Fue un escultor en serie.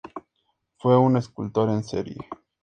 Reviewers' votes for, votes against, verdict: 2, 0, accepted